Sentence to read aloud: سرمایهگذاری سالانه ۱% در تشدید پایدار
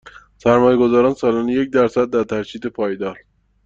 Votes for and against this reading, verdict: 0, 2, rejected